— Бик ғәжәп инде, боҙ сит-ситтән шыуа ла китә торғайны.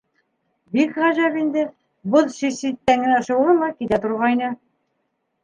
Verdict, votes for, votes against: rejected, 0, 2